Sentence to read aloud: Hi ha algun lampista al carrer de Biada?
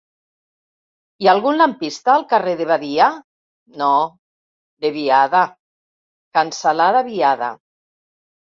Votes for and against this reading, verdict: 0, 2, rejected